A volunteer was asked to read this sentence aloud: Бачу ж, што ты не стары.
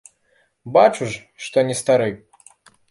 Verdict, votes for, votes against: rejected, 0, 2